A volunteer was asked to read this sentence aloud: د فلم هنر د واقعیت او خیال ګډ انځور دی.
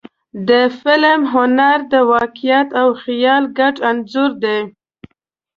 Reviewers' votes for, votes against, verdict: 2, 0, accepted